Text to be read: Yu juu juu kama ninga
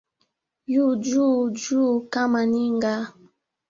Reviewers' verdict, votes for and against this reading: accepted, 2, 0